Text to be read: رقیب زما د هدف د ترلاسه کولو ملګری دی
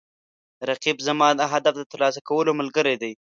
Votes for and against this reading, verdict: 2, 0, accepted